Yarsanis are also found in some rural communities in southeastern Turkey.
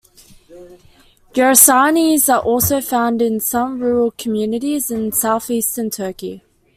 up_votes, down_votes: 2, 0